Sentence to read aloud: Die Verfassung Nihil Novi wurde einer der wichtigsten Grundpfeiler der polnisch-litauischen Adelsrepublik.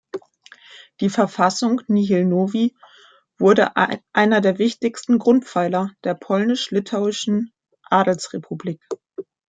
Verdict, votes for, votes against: rejected, 1, 2